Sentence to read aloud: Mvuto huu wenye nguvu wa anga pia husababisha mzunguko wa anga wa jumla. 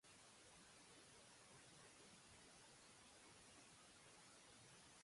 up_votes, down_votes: 1, 2